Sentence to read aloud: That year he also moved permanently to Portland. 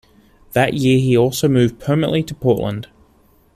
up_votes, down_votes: 2, 0